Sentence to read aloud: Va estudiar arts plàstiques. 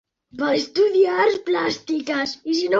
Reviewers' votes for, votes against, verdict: 0, 2, rejected